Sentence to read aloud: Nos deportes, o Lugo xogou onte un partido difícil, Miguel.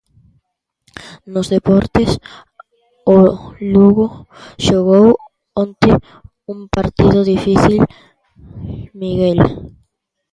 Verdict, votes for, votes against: rejected, 0, 2